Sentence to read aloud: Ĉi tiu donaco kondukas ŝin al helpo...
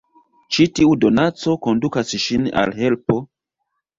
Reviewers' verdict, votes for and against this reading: accepted, 2, 0